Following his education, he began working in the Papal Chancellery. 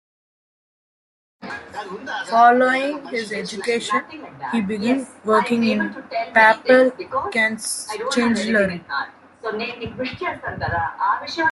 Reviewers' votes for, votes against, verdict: 0, 2, rejected